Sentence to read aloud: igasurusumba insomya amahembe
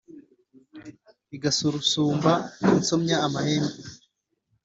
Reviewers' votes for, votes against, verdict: 2, 0, accepted